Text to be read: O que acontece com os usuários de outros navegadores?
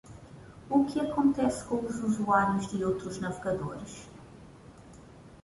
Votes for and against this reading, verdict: 2, 0, accepted